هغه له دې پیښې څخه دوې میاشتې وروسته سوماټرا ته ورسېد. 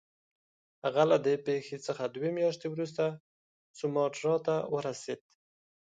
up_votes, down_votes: 2, 0